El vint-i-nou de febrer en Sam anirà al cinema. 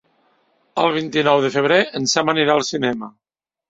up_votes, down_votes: 2, 0